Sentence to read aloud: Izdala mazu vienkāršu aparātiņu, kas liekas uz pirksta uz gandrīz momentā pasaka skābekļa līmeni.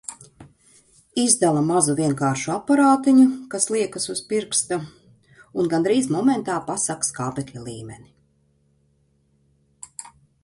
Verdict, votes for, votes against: rejected, 1, 2